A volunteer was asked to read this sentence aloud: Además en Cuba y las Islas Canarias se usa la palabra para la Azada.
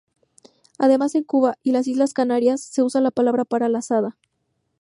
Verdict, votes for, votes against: accepted, 2, 0